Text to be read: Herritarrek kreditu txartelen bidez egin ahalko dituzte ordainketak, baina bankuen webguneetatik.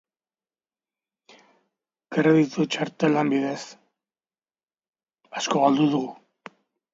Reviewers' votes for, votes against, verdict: 0, 2, rejected